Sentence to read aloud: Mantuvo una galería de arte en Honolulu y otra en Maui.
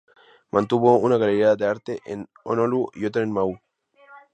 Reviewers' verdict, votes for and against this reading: rejected, 0, 2